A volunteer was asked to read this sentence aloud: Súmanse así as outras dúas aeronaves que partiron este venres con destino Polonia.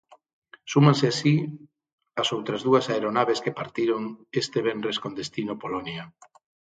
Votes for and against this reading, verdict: 3, 3, rejected